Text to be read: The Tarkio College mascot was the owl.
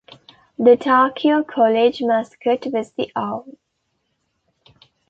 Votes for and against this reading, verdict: 2, 0, accepted